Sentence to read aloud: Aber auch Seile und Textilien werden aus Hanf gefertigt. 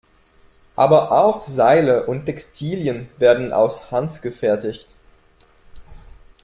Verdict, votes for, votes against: accepted, 2, 0